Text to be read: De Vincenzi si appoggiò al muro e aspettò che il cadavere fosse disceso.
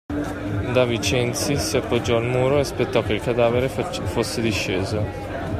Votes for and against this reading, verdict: 0, 2, rejected